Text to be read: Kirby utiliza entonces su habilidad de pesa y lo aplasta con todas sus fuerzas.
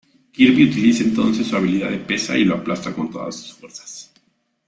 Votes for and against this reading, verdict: 0, 2, rejected